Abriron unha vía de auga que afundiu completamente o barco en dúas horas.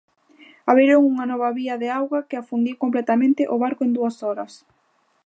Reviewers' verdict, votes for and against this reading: rejected, 0, 2